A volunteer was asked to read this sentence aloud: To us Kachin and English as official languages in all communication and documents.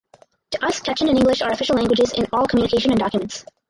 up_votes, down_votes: 2, 2